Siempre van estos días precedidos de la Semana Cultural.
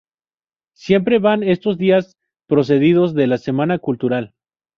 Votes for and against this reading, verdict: 0, 2, rejected